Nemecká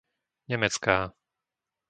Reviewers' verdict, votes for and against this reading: accepted, 2, 0